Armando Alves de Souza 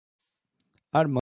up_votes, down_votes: 0, 2